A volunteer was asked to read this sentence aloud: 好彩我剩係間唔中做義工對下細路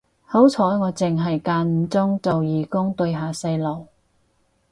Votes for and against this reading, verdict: 6, 0, accepted